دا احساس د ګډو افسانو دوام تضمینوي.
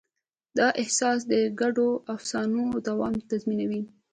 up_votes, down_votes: 2, 0